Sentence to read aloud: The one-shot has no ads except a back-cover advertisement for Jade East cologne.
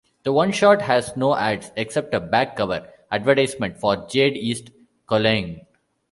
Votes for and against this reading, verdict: 1, 2, rejected